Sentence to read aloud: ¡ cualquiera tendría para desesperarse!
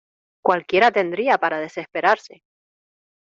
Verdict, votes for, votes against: accepted, 2, 0